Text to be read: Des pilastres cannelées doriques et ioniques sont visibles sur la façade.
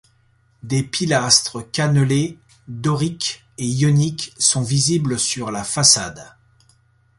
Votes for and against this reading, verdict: 2, 0, accepted